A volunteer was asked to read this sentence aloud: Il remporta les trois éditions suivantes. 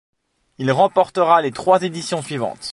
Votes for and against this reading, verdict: 1, 2, rejected